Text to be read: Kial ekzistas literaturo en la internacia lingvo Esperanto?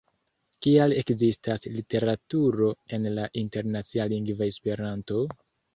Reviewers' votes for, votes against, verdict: 2, 0, accepted